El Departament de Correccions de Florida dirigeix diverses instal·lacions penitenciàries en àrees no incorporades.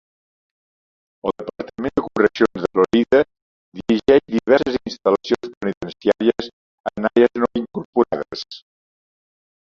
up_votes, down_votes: 0, 4